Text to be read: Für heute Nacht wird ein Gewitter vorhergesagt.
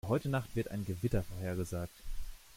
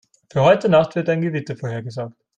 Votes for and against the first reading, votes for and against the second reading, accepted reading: 1, 2, 2, 0, second